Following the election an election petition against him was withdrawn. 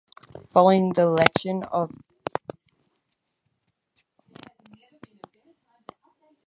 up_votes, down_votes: 0, 4